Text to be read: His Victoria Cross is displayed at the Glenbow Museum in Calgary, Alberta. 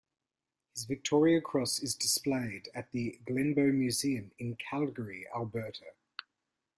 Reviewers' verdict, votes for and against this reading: accepted, 2, 0